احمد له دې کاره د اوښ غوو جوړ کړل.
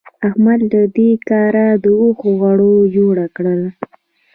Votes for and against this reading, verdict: 2, 1, accepted